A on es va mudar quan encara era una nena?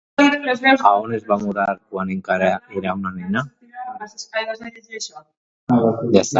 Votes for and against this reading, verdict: 0, 2, rejected